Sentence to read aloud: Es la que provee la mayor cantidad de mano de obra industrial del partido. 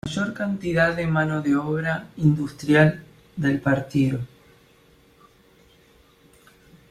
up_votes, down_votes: 0, 2